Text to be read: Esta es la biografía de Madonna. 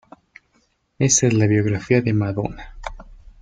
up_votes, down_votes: 1, 2